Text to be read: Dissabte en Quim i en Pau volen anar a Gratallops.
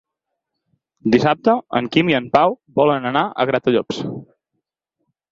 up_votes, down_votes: 6, 0